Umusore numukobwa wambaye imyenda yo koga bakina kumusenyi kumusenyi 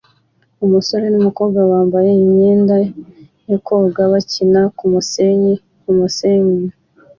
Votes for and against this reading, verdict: 2, 1, accepted